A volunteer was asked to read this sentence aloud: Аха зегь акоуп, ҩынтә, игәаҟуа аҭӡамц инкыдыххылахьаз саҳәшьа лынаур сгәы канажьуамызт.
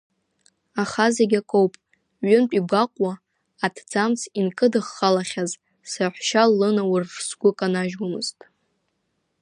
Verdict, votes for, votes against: accepted, 2, 1